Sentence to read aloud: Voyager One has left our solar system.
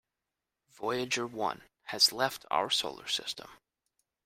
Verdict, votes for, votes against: accepted, 3, 0